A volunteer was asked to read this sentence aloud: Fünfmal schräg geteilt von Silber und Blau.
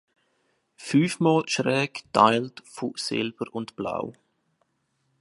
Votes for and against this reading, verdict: 3, 2, accepted